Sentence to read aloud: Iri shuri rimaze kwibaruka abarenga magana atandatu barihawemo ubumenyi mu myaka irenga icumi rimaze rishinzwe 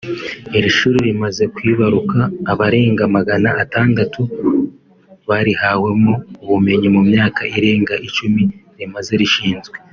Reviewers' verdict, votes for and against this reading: accepted, 2, 0